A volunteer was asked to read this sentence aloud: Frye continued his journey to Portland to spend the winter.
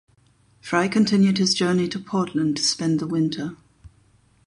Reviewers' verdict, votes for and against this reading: rejected, 4, 4